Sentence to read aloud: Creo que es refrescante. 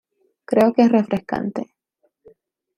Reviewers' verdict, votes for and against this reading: rejected, 1, 2